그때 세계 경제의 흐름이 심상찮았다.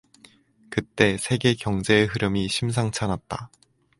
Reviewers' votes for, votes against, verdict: 4, 0, accepted